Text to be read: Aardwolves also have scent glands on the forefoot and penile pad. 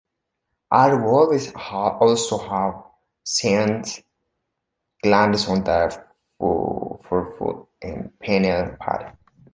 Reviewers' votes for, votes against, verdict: 1, 3, rejected